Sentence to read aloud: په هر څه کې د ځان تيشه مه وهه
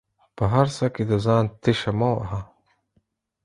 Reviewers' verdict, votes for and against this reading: accepted, 4, 0